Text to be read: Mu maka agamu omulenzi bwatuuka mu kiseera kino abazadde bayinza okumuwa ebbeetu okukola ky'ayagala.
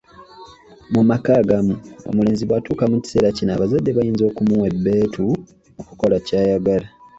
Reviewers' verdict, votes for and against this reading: accepted, 2, 0